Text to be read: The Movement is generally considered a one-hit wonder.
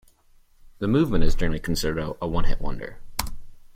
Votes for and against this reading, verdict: 1, 2, rejected